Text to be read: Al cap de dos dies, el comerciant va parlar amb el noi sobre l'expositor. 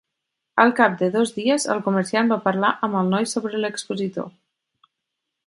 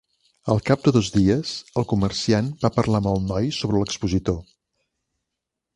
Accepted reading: first